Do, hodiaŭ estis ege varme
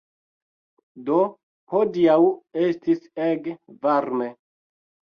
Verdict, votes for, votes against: rejected, 1, 2